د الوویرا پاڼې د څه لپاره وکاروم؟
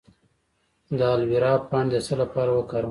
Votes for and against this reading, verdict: 2, 0, accepted